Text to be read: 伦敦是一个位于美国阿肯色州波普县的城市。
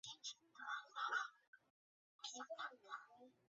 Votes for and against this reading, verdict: 0, 2, rejected